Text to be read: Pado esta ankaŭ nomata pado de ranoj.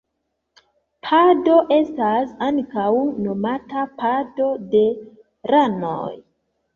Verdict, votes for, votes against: rejected, 1, 2